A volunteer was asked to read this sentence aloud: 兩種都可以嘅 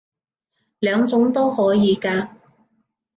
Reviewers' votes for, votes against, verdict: 0, 2, rejected